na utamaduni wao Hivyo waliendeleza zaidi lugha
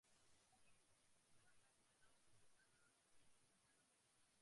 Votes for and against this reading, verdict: 0, 2, rejected